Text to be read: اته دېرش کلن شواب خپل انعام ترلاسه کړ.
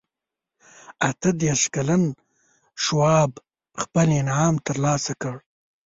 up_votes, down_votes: 1, 2